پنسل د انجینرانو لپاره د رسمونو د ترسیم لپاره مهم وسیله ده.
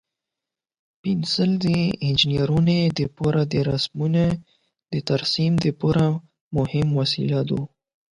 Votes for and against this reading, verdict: 4, 8, rejected